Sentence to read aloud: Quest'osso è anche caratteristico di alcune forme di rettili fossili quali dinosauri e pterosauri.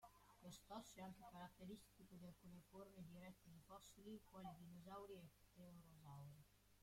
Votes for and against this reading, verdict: 0, 3, rejected